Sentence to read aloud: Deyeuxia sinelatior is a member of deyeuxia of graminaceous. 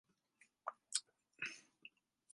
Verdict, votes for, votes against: rejected, 0, 2